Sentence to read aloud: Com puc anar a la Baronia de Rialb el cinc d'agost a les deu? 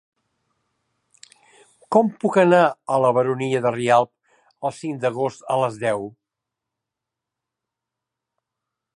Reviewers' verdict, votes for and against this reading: accepted, 2, 0